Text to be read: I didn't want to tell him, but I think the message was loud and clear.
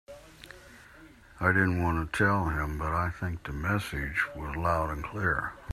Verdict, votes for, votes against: accepted, 2, 0